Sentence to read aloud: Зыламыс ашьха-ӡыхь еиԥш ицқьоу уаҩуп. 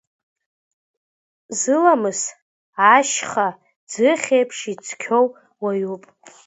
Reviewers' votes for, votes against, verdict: 1, 2, rejected